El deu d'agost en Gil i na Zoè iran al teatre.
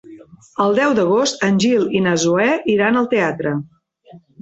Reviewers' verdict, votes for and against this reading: accepted, 4, 0